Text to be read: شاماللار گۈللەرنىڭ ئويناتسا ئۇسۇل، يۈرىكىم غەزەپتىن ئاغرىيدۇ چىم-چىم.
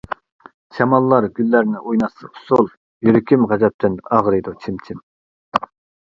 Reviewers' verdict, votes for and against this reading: rejected, 1, 2